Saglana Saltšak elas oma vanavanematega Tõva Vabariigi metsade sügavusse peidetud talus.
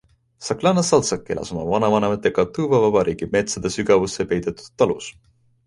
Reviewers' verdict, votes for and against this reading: accepted, 2, 0